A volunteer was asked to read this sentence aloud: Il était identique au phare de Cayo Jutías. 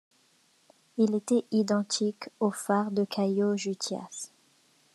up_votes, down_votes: 2, 1